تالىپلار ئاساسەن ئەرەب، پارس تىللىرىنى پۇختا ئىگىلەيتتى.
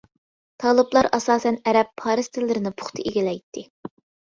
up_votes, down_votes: 3, 0